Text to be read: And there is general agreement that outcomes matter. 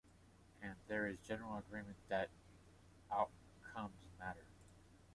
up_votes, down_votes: 2, 1